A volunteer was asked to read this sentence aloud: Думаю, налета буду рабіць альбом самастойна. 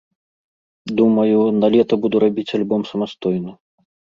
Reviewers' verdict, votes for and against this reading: accepted, 2, 0